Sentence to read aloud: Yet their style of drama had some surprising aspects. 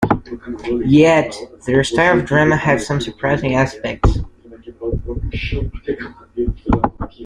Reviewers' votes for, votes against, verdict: 2, 1, accepted